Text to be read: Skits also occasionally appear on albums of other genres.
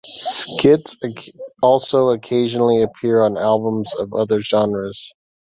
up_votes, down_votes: 1, 2